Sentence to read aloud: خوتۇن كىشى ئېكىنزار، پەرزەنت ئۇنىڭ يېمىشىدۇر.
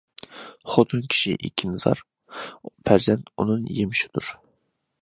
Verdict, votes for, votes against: accepted, 2, 0